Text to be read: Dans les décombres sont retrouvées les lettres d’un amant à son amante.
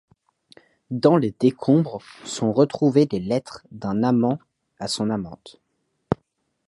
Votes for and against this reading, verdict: 2, 0, accepted